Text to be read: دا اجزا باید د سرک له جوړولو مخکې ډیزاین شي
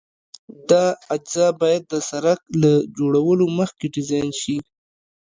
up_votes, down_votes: 2, 0